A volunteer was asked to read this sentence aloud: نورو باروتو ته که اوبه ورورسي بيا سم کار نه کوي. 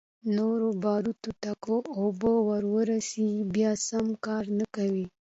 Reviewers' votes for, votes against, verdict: 2, 1, accepted